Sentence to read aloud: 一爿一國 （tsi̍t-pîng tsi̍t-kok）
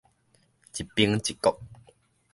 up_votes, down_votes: 1, 2